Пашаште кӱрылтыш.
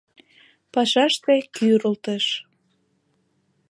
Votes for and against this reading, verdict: 2, 0, accepted